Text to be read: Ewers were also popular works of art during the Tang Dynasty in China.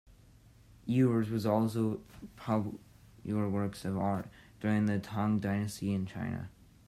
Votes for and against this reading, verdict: 1, 2, rejected